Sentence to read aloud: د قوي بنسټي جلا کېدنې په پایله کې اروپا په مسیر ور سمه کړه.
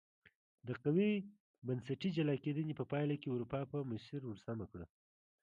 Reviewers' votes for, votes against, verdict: 2, 0, accepted